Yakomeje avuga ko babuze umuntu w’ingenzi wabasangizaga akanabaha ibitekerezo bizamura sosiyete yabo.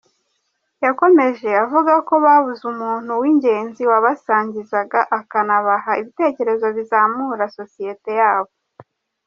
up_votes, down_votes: 2, 0